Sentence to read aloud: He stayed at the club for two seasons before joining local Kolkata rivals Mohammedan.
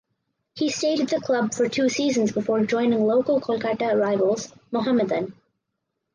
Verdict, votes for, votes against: accepted, 4, 0